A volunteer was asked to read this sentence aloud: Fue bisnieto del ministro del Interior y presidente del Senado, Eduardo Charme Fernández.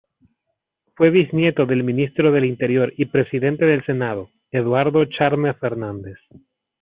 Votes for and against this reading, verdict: 1, 2, rejected